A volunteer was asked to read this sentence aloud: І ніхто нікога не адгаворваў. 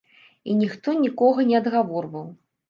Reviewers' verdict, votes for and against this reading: accepted, 2, 0